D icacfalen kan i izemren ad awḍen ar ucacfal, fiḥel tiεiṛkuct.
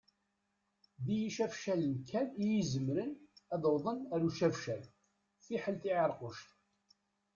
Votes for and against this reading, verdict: 0, 2, rejected